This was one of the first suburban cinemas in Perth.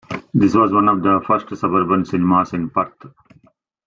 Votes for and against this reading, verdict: 1, 2, rejected